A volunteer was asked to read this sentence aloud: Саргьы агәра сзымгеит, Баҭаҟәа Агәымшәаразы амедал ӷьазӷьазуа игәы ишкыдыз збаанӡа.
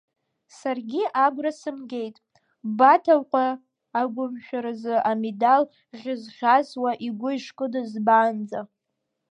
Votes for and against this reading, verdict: 1, 2, rejected